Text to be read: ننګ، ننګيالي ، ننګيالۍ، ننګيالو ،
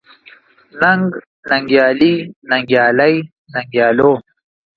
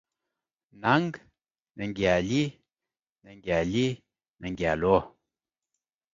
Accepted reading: first